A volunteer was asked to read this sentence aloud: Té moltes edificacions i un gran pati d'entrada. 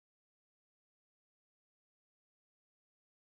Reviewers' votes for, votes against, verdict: 0, 2, rejected